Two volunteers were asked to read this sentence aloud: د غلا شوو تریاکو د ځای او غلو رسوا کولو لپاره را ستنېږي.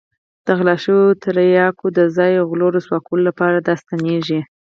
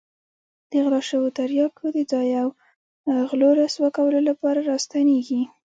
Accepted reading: second